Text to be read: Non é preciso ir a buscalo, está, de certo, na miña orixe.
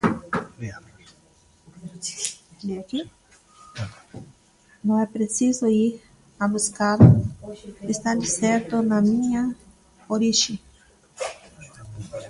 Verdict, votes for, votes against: rejected, 0, 2